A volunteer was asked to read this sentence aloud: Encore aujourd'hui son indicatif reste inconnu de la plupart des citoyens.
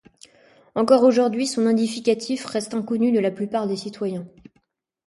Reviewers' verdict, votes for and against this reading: rejected, 1, 2